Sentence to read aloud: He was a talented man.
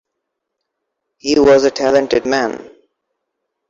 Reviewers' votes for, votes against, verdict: 1, 2, rejected